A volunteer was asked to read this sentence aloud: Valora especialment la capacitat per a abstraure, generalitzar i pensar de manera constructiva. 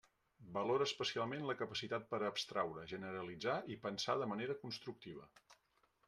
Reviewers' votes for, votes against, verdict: 2, 0, accepted